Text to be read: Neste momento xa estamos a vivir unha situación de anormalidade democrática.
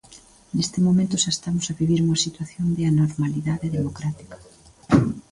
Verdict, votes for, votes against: rejected, 1, 2